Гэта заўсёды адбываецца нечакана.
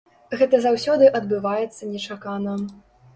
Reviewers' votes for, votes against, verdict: 3, 0, accepted